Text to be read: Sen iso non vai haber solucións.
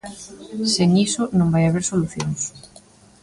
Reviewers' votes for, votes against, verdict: 1, 2, rejected